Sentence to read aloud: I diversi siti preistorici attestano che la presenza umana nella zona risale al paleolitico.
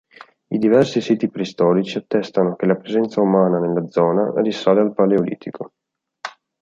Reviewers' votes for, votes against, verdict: 2, 0, accepted